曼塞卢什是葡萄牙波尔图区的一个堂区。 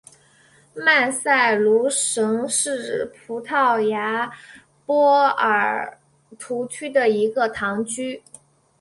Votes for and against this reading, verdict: 2, 0, accepted